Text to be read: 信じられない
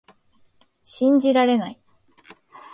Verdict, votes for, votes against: accepted, 2, 0